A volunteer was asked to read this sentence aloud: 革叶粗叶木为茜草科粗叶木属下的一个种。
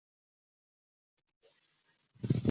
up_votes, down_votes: 0, 2